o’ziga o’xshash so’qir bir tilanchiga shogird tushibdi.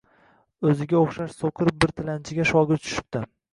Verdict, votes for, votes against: accepted, 2, 0